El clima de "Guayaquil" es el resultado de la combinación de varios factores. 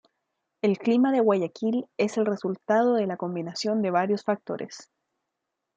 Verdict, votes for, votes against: accepted, 2, 0